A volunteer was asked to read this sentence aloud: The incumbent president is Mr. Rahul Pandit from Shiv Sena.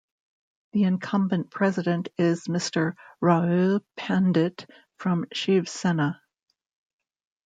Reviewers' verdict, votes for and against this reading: rejected, 0, 2